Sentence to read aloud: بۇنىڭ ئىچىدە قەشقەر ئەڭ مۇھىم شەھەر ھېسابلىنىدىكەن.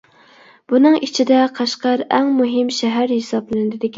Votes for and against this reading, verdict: 0, 2, rejected